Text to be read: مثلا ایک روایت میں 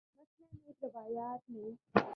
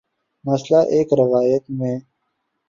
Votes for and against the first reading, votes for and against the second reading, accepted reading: 0, 2, 2, 0, second